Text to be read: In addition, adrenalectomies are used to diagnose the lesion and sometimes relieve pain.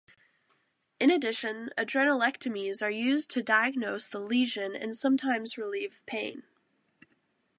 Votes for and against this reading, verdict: 2, 0, accepted